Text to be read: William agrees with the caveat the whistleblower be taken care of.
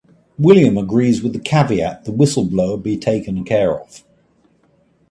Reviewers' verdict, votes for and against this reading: accepted, 2, 0